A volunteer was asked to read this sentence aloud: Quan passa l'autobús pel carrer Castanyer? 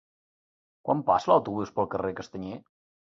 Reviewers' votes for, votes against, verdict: 3, 0, accepted